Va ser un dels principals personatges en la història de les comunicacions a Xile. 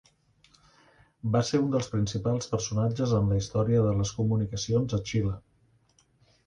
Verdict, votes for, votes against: accepted, 2, 0